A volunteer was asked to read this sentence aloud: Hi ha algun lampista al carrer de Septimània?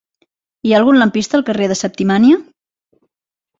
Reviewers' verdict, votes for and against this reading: accepted, 3, 0